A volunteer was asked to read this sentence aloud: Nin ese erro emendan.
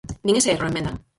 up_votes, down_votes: 0, 4